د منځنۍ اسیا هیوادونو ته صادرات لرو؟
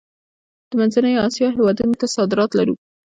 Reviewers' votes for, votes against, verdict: 0, 2, rejected